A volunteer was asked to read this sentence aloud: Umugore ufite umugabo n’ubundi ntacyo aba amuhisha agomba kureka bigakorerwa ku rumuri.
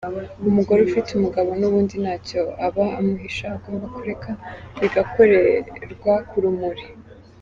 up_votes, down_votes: 2, 0